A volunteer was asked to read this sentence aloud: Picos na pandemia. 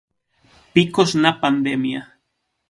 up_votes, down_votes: 6, 0